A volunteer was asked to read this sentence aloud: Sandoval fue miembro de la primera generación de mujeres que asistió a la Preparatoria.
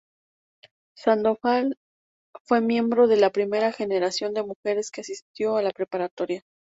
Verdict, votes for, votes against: accepted, 2, 0